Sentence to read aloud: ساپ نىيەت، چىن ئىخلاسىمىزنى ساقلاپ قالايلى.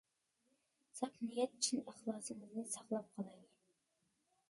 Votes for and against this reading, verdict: 0, 2, rejected